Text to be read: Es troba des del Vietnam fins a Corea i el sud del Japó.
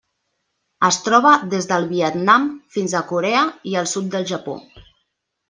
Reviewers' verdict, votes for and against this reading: accepted, 3, 0